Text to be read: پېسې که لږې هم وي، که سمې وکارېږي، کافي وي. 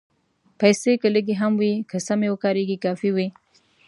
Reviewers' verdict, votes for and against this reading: accepted, 2, 0